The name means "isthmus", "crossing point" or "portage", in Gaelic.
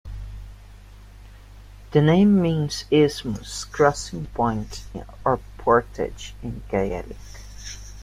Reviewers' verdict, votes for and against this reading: accepted, 2, 0